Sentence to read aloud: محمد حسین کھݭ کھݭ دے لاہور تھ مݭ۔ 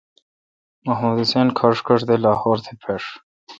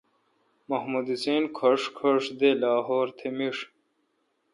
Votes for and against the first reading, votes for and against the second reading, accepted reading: 2, 0, 1, 2, first